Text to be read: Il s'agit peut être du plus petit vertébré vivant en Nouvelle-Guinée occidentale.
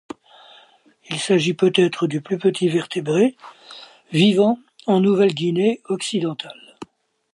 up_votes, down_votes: 2, 0